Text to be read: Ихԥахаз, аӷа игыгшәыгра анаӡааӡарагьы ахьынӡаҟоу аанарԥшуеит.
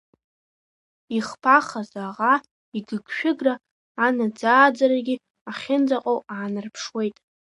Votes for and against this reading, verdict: 2, 0, accepted